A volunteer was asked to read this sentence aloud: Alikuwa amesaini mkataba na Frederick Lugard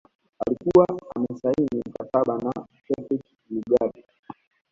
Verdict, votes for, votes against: rejected, 0, 2